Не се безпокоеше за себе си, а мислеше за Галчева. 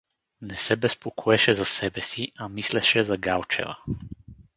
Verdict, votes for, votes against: accepted, 2, 0